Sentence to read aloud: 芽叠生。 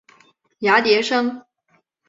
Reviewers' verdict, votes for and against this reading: accepted, 2, 0